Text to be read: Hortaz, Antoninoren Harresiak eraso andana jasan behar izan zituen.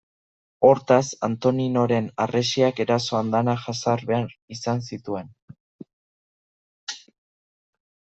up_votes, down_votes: 2, 1